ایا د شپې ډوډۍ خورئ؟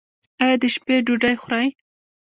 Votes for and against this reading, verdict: 1, 2, rejected